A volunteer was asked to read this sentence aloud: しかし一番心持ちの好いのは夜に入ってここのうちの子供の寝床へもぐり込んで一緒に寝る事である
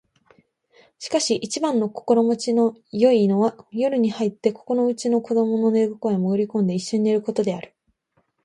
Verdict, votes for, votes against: accepted, 2, 0